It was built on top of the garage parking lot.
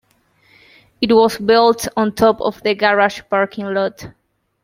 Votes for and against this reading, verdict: 2, 0, accepted